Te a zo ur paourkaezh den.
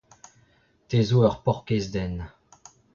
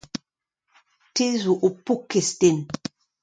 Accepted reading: second